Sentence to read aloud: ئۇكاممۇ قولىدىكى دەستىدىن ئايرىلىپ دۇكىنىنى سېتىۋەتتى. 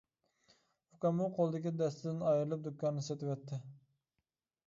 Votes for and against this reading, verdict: 1, 2, rejected